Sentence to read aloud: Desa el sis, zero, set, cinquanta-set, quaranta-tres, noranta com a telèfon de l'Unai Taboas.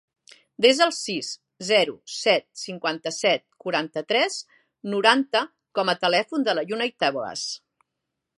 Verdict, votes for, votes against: rejected, 1, 2